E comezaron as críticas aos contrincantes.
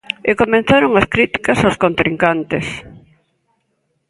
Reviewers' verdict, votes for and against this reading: rejected, 1, 2